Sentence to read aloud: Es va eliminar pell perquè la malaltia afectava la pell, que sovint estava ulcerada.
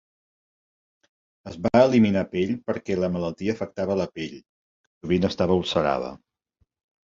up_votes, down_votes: 0, 2